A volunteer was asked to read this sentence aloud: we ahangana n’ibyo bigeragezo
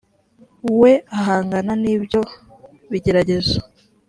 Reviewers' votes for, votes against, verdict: 2, 0, accepted